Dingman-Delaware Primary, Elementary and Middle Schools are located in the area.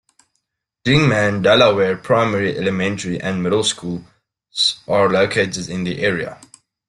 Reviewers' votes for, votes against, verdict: 0, 2, rejected